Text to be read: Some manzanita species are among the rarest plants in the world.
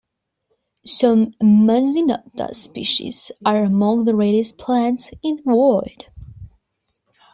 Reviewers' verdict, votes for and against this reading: rejected, 1, 2